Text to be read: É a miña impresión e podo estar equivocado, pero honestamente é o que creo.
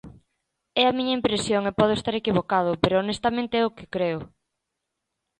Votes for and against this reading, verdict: 2, 0, accepted